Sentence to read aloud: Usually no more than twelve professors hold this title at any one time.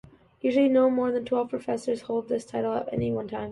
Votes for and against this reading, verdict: 2, 0, accepted